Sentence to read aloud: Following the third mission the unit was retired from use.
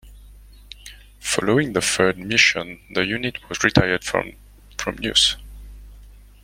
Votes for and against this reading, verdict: 0, 2, rejected